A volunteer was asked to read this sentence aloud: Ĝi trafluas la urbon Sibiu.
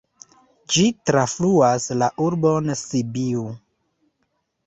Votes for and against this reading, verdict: 2, 1, accepted